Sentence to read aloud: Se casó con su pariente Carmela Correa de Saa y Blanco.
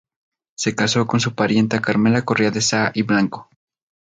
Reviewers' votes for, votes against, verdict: 4, 0, accepted